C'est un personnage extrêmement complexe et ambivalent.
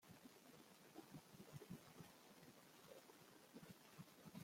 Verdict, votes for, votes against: rejected, 1, 2